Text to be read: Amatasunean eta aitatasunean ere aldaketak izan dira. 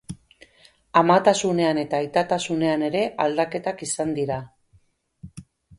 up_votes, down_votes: 4, 0